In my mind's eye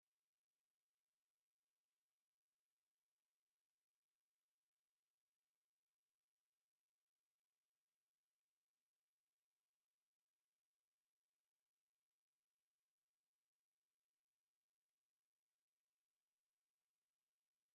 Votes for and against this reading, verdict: 0, 2, rejected